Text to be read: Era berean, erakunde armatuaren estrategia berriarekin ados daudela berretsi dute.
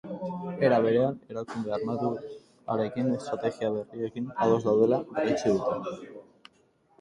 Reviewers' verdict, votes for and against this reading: rejected, 2, 2